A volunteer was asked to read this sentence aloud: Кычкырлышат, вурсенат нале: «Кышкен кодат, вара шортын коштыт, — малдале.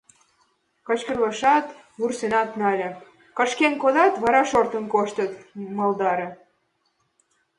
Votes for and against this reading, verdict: 1, 2, rejected